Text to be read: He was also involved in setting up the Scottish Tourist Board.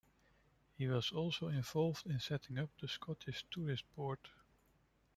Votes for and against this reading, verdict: 1, 2, rejected